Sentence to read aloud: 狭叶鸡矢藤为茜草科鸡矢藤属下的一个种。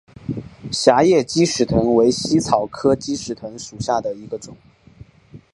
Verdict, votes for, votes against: accepted, 2, 0